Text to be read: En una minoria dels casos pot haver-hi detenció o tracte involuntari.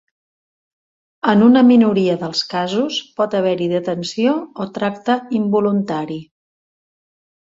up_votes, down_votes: 3, 0